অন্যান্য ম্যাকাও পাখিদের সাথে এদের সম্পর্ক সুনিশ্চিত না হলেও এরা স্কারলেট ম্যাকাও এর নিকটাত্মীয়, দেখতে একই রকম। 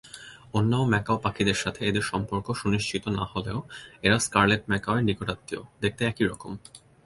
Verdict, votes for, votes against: rejected, 0, 2